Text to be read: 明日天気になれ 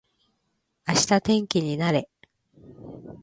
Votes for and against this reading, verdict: 2, 0, accepted